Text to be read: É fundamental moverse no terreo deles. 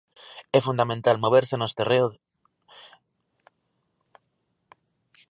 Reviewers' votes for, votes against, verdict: 0, 2, rejected